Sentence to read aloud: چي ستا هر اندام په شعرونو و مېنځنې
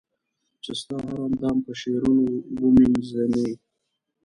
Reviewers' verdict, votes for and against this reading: rejected, 1, 2